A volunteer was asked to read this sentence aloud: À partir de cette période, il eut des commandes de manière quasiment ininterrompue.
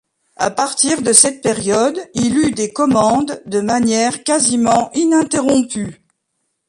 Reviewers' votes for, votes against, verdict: 2, 1, accepted